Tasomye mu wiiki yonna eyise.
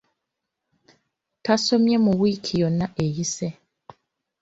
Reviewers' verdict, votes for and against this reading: accepted, 2, 0